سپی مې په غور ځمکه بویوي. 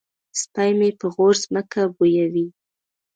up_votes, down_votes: 2, 3